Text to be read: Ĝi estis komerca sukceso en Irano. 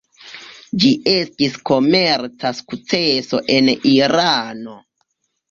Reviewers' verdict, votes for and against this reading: rejected, 0, 2